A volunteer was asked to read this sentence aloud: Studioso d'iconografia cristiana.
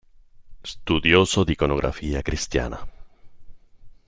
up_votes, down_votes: 2, 0